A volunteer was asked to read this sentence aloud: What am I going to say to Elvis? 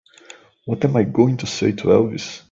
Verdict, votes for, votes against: accepted, 2, 1